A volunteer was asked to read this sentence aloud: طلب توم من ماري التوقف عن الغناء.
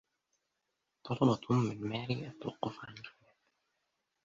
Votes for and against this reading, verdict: 0, 2, rejected